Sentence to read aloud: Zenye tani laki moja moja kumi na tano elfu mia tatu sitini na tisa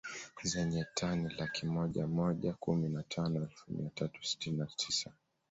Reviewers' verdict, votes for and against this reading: accepted, 2, 0